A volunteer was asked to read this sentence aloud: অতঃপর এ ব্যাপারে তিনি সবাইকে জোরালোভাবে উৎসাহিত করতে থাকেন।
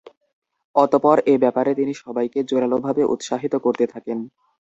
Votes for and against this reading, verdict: 2, 0, accepted